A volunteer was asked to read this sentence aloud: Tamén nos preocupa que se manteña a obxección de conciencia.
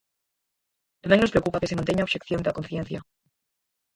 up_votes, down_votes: 0, 4